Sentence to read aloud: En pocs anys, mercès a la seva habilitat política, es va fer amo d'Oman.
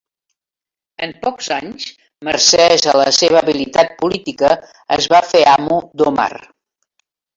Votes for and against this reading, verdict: 0, 2, rejected